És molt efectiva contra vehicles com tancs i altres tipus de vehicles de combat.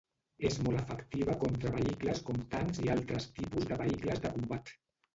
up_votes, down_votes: 0, 2